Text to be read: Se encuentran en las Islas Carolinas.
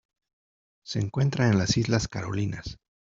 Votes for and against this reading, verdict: 1, 2, rejected